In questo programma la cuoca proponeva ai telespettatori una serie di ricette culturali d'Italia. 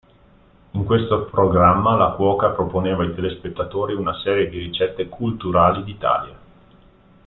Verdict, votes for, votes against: accepted, 2, 0